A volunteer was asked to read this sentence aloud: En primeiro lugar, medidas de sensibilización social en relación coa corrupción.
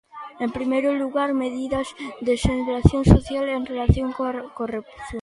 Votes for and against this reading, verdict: 0, 2, rejected